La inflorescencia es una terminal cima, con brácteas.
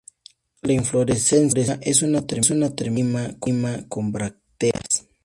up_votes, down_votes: 0, 2